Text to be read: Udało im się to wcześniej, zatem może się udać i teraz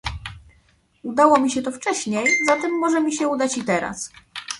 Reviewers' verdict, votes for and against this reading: rejected, 0, 2